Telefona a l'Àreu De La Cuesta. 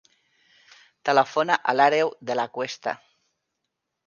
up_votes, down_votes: 3, 1